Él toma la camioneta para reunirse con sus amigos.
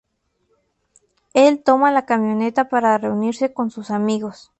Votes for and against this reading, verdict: 2, 0, accepted